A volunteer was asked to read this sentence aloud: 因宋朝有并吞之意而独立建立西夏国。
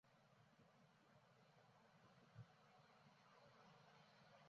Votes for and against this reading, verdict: 0, 3, rejected